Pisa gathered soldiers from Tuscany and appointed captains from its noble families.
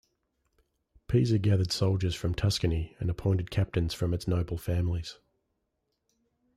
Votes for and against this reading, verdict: 2, 0, accepted